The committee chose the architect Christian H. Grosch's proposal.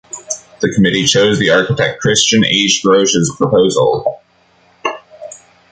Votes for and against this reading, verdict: 2, 0, accepted